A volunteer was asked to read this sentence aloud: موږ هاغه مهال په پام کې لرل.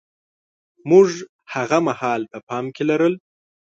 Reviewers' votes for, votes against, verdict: 2, 0, accepted